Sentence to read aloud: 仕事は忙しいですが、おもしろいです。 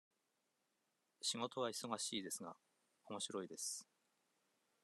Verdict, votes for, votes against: accepted, 2, 0